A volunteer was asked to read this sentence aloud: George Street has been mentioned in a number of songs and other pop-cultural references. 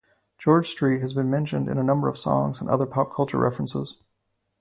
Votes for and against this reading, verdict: 2, 2, rejected